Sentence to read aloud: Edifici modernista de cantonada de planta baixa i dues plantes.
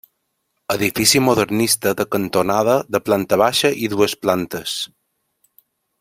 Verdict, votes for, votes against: rejected, 0, 2